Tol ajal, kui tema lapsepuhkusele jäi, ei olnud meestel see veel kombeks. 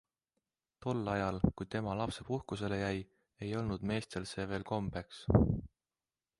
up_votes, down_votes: 2, 1